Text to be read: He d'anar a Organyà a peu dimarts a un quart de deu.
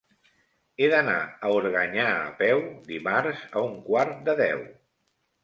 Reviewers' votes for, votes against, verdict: 3, 0, accepted